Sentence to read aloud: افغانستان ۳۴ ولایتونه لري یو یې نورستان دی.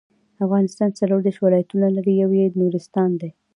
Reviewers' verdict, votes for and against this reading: rejected, 0, 2